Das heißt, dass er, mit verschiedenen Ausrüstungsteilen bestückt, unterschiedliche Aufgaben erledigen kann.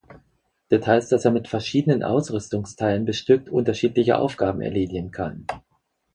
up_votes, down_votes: 0, 4